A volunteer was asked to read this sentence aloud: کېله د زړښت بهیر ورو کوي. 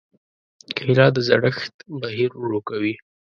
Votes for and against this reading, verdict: 2, 0, accepted